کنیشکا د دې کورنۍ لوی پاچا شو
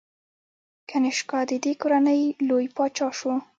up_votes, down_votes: 2, 0